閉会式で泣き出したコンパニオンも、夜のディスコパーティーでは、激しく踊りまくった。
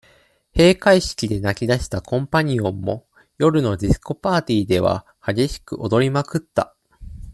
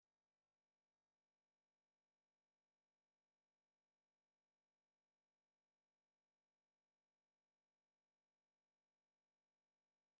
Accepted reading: first